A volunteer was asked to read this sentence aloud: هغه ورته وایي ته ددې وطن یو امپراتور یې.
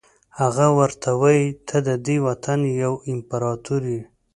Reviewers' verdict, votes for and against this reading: accepted, 2, 0